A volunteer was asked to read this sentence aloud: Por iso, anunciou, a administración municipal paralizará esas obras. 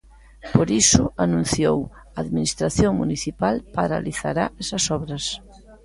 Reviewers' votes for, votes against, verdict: 2, 0, accepted